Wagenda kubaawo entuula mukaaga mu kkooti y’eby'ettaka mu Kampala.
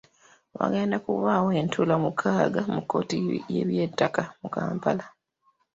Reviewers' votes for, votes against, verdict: 0, 2, rejected